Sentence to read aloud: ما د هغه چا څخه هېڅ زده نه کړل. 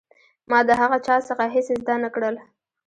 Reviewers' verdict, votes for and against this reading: rejected, 1, 2